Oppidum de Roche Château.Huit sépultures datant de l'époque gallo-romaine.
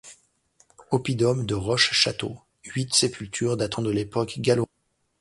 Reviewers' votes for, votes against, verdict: 0, 2, rejected